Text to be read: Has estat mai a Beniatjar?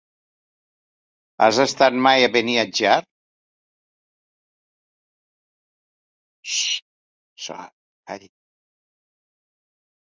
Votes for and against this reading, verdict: 0, 2, rejected